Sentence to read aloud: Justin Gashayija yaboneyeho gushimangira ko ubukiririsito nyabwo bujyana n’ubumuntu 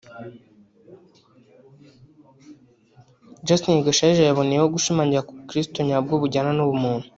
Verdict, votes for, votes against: rejected, 1, 2